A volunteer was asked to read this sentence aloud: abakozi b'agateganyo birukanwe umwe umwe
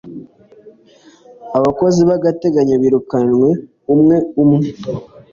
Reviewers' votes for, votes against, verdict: 2, 0, accepted